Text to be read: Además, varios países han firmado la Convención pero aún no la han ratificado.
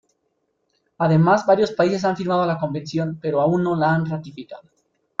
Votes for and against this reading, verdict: 1, 2, rejected